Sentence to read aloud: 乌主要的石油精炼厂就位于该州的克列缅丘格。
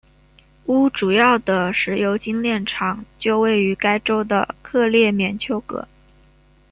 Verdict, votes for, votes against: rejected, 1, 2